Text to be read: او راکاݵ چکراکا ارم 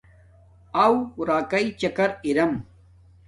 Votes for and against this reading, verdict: 1, 2, rejected